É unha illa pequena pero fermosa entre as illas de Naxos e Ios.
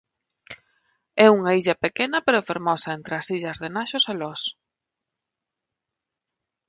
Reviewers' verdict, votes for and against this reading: rejected, 0, 2